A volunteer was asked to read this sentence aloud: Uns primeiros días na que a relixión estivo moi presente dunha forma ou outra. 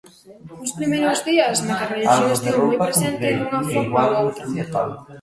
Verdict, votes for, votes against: rejected, 0, 2